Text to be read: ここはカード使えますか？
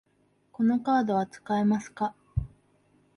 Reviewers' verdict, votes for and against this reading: rejected, 0, 2